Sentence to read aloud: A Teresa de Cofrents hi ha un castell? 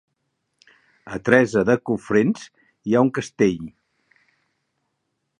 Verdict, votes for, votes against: rejected, 1, 2